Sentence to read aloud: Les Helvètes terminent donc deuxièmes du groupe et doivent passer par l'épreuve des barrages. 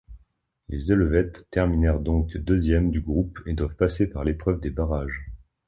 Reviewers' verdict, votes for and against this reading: rejected, 0, 2